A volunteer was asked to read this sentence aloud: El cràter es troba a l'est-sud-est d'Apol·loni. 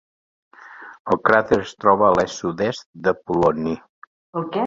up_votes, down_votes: 1, 2